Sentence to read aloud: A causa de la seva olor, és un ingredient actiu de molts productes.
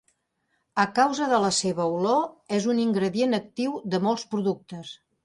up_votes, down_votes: 2, 0